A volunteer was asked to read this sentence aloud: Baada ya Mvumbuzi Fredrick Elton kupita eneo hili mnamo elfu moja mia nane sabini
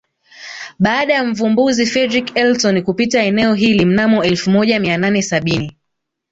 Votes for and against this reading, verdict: 1, 2, rejected